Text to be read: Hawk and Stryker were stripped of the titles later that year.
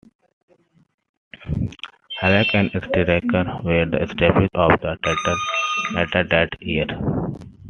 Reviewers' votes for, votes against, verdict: 1, 2, rejected